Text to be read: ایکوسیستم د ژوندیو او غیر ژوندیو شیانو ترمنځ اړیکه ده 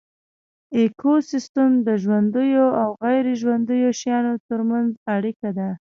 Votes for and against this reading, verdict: 2, 0, accepted